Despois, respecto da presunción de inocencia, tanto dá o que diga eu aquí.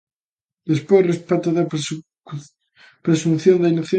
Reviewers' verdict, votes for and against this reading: rejected, 0, 2